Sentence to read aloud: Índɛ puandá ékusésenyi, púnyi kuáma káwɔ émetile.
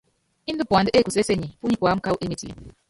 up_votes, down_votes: 1, 2